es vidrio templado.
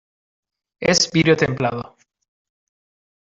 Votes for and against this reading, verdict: 0, 2, rejected